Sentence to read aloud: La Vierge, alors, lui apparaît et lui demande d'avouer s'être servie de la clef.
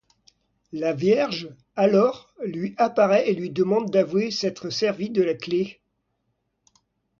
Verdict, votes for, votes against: accepted, 2, 0